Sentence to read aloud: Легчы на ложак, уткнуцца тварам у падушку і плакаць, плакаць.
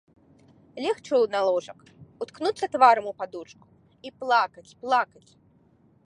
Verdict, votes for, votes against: rejected, 0, 2